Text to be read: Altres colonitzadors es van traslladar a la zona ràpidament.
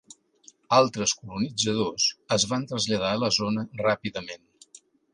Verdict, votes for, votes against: accepted, 3, 0